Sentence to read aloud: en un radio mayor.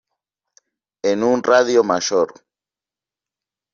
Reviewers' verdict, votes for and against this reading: accepted, 2, 0